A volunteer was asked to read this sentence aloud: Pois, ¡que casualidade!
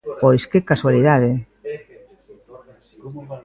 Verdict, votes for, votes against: accepted, 2, 1